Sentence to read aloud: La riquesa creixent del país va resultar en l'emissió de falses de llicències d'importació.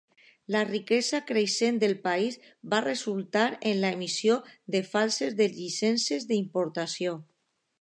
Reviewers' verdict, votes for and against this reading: accepted, 2, 0